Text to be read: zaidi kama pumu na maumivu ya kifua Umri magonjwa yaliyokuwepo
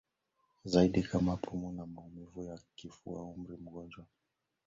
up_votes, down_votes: 0, 2